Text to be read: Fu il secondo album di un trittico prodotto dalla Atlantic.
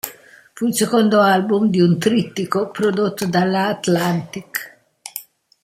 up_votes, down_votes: 1, 2